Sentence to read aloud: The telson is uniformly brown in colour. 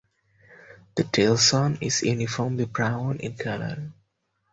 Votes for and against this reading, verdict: 2, 2, rejected